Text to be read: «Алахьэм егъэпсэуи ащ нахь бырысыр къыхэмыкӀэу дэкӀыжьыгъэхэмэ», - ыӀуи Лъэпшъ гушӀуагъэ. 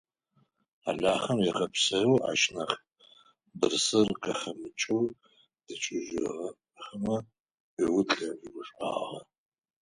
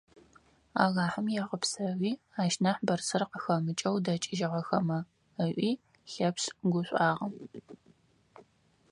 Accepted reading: second